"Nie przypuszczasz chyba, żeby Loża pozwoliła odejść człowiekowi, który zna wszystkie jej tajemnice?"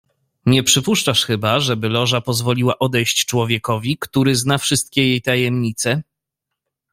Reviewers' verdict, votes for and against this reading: accepted, 2, 0